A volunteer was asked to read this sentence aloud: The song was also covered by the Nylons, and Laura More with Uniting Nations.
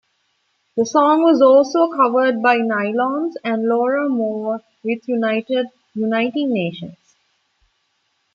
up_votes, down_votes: 0, 2